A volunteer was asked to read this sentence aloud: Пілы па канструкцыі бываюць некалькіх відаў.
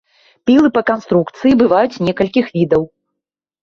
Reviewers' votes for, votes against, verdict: 2, 0, accepted